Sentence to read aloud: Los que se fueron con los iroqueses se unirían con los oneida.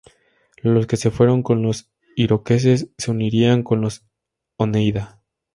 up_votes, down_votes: 2, 0